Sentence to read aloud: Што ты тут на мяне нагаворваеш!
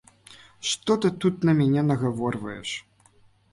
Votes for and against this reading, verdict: 2, 0, accepted